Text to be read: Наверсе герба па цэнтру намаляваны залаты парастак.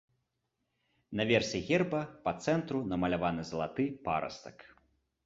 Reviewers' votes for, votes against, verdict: 2, 0, accepted